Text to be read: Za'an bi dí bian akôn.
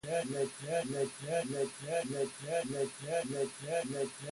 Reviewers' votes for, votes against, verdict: 0, 2, rejected